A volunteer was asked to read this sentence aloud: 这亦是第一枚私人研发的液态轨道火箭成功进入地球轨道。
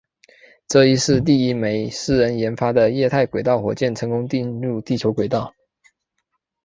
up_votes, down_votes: 4, 1